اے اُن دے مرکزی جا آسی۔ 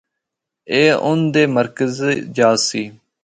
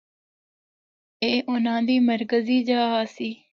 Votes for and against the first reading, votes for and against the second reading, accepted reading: 2, 1, 0, 2, first